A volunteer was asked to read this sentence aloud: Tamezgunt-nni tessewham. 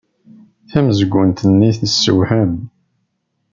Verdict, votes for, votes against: accepted, 2, 0